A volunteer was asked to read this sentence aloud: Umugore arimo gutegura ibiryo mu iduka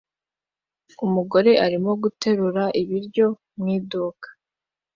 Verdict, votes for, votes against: rejected, 0, 2